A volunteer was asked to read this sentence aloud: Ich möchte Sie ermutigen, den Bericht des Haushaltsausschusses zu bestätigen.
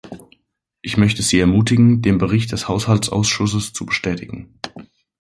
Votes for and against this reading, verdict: 2, 0, accepted